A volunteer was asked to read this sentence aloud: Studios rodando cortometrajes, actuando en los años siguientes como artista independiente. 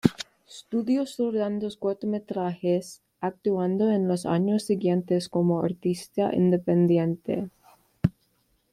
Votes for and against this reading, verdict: 2, 0, accepted